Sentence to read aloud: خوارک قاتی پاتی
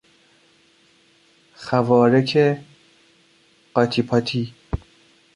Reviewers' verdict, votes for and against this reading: rejected, 1, 2